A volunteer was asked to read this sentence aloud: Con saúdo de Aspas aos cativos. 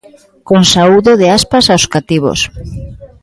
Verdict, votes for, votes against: accepted, 2, 0